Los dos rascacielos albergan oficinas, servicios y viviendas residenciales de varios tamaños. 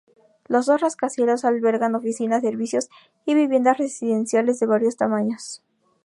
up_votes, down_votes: 2, 0